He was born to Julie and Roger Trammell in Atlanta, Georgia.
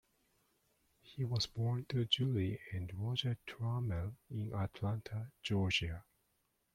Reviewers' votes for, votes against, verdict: 1, 2, rejected